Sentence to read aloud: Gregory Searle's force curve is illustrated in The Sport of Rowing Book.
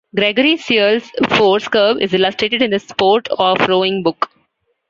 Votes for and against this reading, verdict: 2, 1, accepted